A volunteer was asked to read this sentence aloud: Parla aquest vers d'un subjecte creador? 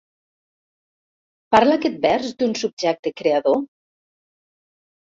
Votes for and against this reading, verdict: 3, 0, accepted